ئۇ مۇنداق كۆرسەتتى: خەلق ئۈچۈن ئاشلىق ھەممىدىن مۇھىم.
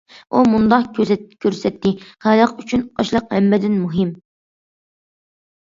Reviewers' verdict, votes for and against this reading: rejected, 0, 2